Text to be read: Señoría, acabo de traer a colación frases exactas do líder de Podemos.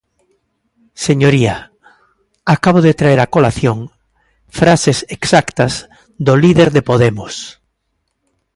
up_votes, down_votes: 2, 0